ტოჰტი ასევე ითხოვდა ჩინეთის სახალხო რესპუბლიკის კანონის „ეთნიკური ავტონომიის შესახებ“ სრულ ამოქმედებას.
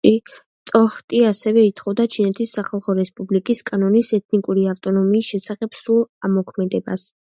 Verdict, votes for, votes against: rejected, 1, 2